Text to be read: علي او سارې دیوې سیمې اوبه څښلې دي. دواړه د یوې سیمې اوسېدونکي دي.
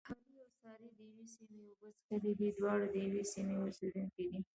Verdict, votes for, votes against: rejected, 1, 2